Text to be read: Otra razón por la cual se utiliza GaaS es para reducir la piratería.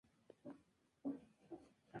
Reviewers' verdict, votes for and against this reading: rejected, 0, 2